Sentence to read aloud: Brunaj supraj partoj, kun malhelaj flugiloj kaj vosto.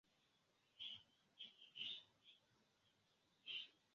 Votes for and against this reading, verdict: 0, 2, rejected